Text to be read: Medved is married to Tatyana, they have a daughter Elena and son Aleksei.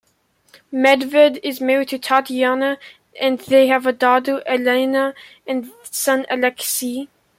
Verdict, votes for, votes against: accepted, 2, 1